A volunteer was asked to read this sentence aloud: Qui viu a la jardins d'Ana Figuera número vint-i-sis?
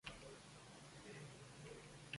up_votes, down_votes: 0, 2